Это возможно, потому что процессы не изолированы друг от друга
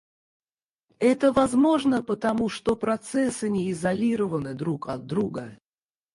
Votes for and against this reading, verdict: 0, 4, rejected